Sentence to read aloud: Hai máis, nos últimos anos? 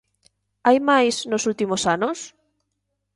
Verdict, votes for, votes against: accepted, 2, 0